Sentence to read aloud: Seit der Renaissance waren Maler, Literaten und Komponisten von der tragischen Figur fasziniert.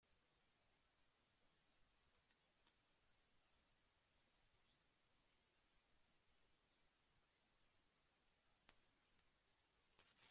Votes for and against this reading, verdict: 0, 2, rejected